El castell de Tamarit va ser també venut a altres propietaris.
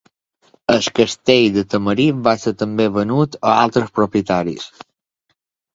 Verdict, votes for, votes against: rejected, 1, 2